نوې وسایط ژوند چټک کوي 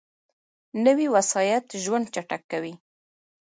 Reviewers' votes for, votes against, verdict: 2, 0, accepted